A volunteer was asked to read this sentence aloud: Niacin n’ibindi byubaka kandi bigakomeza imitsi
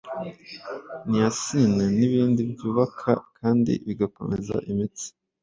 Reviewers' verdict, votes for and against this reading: accepted, 2, 0